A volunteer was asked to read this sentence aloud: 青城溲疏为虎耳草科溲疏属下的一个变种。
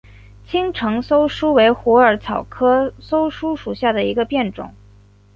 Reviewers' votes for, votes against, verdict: 7, 2, accepted